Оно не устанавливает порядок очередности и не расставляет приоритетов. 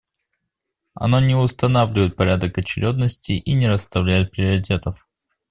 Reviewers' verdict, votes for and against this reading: accepted, 2, 1